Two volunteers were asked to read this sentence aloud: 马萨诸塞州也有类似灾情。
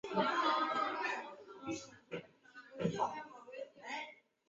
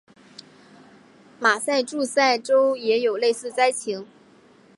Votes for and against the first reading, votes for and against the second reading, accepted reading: 0, 2, 3, 1, second